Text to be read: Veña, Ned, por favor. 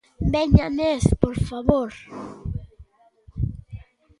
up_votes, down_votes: 2, 1